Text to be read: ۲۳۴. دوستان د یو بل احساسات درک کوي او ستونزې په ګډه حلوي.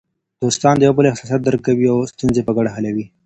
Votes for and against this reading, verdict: 0, 2, rejected